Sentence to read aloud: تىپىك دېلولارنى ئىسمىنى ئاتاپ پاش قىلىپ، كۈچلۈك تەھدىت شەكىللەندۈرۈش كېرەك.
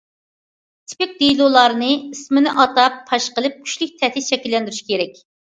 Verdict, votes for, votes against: accepted, 2, 0